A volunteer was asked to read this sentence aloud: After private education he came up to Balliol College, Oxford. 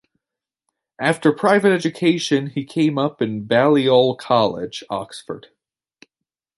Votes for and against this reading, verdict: 1, 2, rejected